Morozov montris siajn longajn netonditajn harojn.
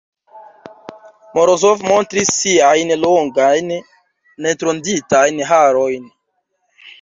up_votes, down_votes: 1, 3